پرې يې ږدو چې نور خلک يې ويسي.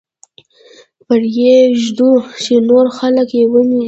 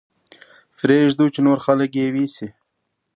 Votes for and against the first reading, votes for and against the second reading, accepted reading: 1, 2, 2, 0, second